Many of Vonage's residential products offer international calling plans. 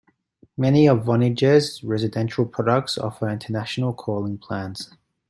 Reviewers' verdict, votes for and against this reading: accepted, 2, 0